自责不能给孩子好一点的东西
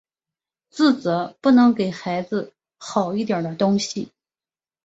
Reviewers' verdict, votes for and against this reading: accepted, 2, 0